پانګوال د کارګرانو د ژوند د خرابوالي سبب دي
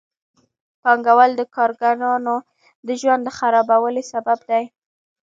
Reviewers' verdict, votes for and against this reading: rejected, 1, 2